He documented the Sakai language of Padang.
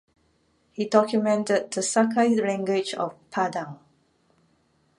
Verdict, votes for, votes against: accepted, 2, 1